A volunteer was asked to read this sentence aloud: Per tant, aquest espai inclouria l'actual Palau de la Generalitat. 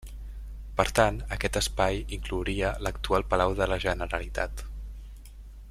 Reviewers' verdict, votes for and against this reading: accepted, 2, 0